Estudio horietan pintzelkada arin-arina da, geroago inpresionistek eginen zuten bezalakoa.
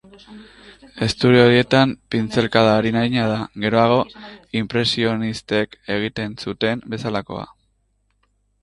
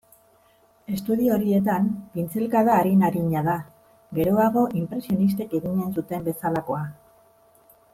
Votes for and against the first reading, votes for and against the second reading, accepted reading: 0, 2, 2, 0, second